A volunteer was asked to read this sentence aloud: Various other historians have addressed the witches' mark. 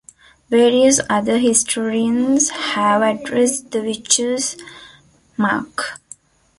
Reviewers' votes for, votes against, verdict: 0, 2, rejected